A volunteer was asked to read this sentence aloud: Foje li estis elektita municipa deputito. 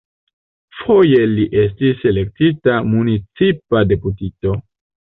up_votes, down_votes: 3, 0